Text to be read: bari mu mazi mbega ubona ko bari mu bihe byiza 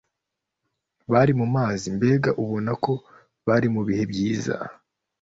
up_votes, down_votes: 2, 0